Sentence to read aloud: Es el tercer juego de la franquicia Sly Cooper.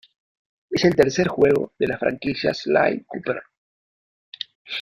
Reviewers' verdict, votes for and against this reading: accepted, 2, 0